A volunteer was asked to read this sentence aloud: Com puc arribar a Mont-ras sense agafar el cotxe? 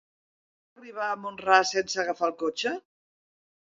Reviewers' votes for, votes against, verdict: 0, 2, rejected